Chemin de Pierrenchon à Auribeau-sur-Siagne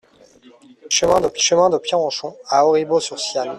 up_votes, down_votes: 0, 3